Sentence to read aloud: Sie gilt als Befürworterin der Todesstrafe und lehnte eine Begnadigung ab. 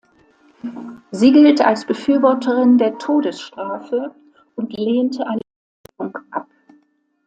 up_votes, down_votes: 1, 2